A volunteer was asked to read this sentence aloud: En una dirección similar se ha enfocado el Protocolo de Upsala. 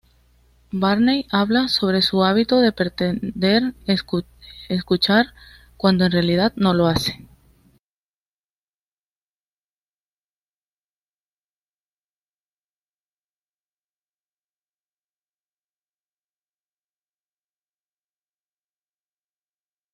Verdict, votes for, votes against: rejected, 1, 2